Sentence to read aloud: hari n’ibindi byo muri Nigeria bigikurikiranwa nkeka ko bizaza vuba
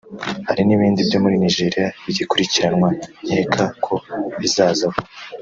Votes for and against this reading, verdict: 1, 2, rejected